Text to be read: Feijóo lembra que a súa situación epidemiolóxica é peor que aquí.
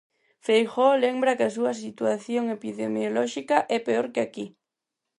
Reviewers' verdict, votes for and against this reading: accepted, 4, 0